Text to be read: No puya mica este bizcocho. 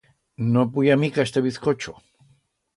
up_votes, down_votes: 2, 0